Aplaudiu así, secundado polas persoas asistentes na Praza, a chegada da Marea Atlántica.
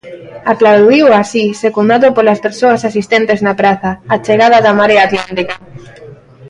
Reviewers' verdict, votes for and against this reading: rejected, 0, 2